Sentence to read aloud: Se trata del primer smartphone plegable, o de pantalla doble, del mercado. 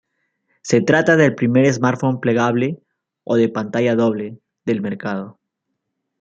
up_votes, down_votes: 2, 0